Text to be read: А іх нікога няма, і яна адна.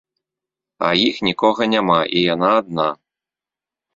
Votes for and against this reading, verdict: 2, 0, accepted